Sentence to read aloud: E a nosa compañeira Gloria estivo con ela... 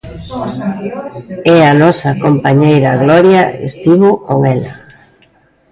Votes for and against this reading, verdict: 0, 2, rejected